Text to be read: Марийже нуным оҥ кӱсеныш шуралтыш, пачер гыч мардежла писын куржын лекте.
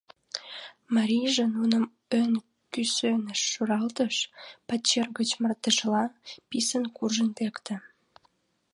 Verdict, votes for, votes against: rejected, 0, 2